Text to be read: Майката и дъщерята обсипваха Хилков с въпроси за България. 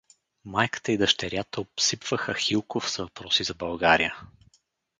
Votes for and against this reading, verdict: 4, 2, accepted